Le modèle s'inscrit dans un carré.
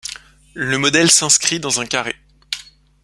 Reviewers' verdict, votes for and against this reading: accepted, 3, 0